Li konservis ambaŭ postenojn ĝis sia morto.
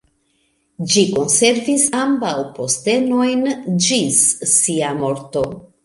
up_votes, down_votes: 0, 2